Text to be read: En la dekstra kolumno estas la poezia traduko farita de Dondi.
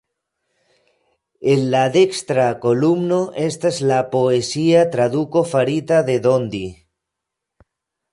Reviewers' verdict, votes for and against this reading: rejected, 1, 2